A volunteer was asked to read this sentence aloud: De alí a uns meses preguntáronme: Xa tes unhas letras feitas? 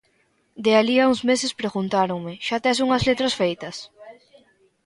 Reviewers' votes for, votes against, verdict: 0, 2, rejected